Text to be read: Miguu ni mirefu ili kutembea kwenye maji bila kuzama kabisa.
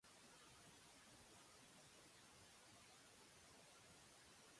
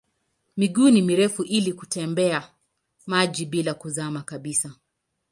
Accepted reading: second